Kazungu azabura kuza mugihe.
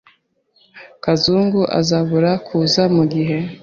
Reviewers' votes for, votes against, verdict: 2, 0, accepted